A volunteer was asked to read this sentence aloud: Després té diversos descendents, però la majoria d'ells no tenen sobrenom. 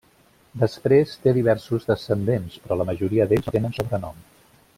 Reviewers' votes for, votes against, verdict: 1, 2, rejected